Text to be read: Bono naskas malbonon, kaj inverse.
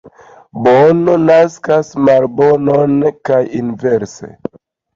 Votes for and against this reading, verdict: 2, 0, accepted